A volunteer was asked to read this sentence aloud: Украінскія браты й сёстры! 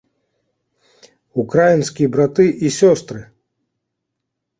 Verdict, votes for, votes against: accepted, 2, 0